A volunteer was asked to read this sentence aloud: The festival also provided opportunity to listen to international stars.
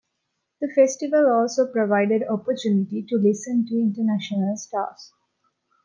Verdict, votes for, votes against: accepted, 2, 0